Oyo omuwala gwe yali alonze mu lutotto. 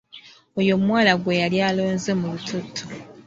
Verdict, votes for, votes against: accepted, 2, 0